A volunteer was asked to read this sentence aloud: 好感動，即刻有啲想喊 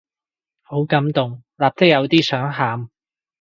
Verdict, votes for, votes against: rejected, 0, 2